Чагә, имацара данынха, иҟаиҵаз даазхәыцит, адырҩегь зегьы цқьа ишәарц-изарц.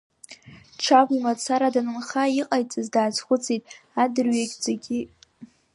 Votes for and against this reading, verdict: 0, 2, rejected